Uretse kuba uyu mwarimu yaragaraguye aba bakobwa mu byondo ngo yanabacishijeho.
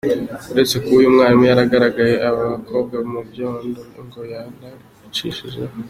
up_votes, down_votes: 1, 2